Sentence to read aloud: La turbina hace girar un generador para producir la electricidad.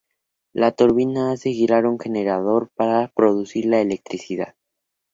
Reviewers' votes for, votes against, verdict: 2, 0, accepted